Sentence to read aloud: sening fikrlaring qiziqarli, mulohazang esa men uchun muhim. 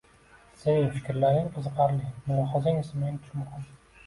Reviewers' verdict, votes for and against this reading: rejected, 0, 2